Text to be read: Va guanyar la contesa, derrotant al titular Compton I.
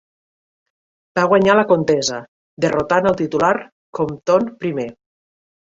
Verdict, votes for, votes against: accepted, 2, 0